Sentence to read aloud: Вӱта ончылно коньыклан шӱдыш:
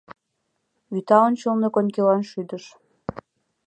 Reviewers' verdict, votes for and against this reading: rejected, 0, 2